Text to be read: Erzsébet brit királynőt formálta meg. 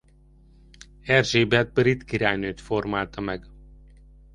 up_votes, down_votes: 2, 0